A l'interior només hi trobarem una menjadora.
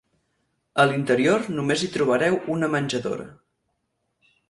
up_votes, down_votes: 0, 4